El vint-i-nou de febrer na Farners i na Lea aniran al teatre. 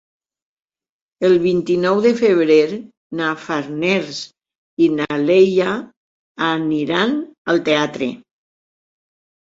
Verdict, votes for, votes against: rejected, 0, 4